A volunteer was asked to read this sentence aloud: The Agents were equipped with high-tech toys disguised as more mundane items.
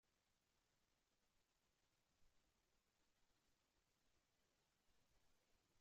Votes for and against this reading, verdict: 0, 2, rejected